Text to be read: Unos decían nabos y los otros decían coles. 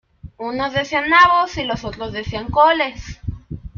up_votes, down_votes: 2, 1